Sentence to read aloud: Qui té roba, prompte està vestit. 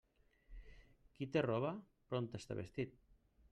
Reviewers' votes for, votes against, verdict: 2, 0, accepted